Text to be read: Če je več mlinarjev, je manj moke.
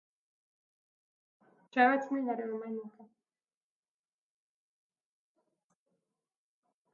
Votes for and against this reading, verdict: 1, 2, rejected